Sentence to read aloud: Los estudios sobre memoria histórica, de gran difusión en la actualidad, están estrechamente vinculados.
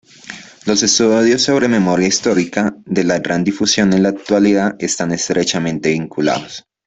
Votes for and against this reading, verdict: 1, 2, rejected